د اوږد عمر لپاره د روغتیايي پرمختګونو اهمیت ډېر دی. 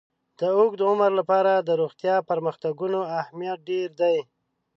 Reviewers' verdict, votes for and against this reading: rejected, 1, 2